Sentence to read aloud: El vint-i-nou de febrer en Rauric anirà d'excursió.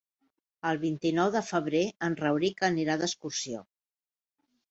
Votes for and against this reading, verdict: 3, 0, accepted